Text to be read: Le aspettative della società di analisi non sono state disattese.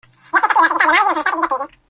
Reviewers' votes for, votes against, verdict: 0, 2, rejected